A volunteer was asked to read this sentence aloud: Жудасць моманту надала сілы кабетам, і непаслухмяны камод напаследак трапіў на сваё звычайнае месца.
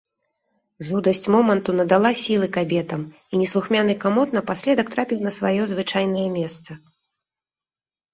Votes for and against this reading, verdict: 1, 2, rejected